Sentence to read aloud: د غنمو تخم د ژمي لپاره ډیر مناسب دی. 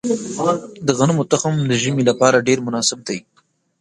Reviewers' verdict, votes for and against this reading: rejected, 2, 3